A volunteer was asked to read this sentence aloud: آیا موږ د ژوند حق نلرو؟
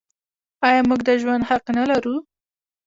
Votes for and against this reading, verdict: 2, 0, accepted